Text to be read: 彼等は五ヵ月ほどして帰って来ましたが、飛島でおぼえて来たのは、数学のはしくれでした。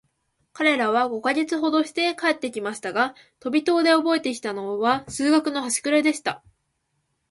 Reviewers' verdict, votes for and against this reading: accepted, 2, 0